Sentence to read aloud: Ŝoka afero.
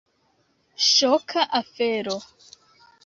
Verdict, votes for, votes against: accepted, 2, 0